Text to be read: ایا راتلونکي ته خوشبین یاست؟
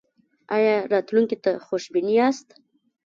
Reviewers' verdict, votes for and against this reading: rejected, 1, 2